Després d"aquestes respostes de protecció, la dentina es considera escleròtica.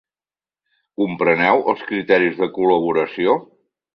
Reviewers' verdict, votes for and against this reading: rejected, 0, 2